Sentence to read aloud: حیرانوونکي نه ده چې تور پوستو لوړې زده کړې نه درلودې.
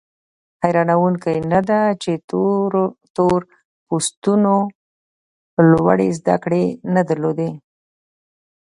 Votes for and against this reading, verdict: 0, 2, rejected